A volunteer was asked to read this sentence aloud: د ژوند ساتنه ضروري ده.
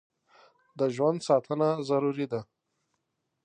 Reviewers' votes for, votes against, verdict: 2, 0, accepted